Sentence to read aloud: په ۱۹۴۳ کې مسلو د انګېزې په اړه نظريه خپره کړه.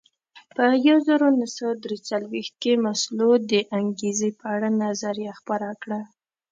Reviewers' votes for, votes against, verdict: 0, 2, rejected